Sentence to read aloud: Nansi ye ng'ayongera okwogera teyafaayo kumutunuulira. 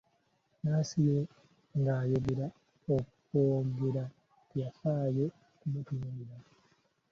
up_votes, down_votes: 0, 2